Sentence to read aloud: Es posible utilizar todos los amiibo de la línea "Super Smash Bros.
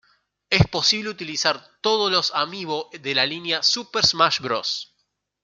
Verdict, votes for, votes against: accepted, 2, 0